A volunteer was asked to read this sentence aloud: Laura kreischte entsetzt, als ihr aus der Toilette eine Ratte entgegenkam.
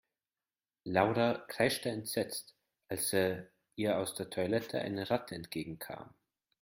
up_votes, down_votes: 1, 2